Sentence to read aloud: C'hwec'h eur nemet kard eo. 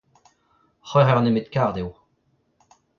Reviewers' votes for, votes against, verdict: 2, 0, accepted